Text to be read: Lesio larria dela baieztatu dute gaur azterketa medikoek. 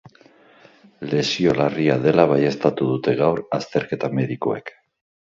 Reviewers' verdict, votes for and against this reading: accepted, 4, 0